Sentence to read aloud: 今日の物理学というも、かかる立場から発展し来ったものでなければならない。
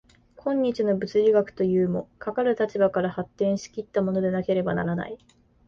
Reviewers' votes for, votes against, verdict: 2, 0, accepted